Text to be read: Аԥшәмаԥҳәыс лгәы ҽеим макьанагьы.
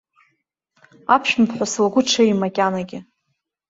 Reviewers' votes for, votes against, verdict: 2, 0, accepted